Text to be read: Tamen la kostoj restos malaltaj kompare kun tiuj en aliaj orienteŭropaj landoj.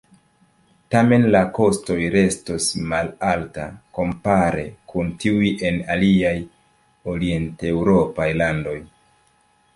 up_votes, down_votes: 0, 2